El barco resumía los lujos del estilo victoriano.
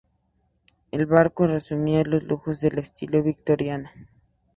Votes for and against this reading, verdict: 2, 0, accepted